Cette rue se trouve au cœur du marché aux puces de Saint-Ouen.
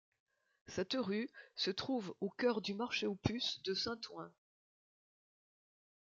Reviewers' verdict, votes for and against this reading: accepted, 2, 0